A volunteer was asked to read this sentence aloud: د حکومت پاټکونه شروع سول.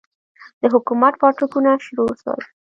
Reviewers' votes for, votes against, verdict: 1, 2, rejected